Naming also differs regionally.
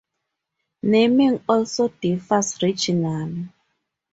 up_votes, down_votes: 2, 2